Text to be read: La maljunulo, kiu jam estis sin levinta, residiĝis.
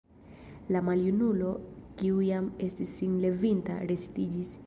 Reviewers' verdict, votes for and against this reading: rejected, 0, 2